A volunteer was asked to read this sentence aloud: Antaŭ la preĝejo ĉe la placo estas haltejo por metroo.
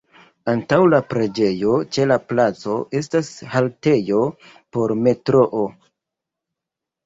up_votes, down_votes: 2, 1